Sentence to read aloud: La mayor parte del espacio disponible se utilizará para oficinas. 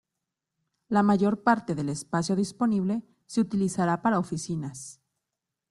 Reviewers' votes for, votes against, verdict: 2, 0, accepted